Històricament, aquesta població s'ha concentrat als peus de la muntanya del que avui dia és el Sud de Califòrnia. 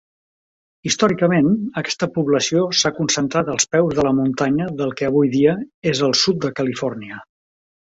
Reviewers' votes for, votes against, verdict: 3, 0, accepted